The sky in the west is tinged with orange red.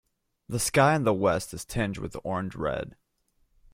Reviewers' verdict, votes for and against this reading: rejected, 1, 2